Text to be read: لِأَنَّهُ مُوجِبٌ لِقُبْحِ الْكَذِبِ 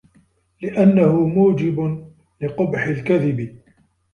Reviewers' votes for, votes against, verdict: 2, 0, accepted